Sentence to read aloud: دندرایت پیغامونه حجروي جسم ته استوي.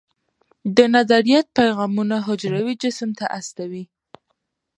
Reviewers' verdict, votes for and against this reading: rejected, 0, 2